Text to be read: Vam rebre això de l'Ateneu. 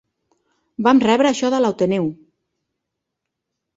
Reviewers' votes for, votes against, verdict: 0, 2, rejected